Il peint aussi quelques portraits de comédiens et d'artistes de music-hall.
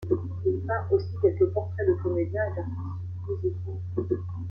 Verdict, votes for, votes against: rejected, 0, 2